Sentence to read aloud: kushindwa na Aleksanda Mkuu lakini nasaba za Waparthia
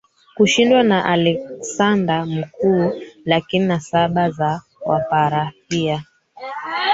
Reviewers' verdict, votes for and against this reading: rejected, 1, 2